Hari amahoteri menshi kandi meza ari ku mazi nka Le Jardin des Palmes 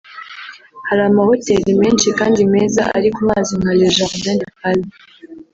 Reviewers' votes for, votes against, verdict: 1, 2, rejected